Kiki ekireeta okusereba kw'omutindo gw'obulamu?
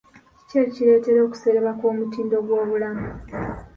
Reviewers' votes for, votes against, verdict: 2, 0, accepted